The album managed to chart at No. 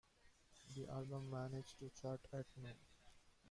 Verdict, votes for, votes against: rejected, 0, 2